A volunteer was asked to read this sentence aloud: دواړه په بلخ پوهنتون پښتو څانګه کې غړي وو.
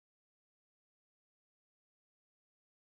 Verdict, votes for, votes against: accepted, 2, 1